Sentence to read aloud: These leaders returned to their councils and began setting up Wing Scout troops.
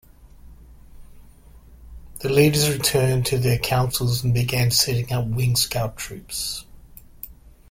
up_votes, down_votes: 0, 2